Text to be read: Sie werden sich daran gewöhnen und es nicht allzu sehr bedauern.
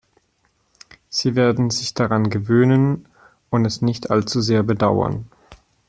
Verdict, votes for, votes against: accepted, 2, 0